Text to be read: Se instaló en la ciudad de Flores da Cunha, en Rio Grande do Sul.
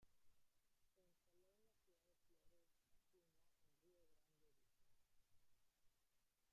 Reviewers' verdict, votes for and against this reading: rejected, 0, 2